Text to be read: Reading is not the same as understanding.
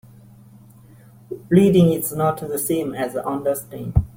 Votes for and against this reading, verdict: 1, 3, rejected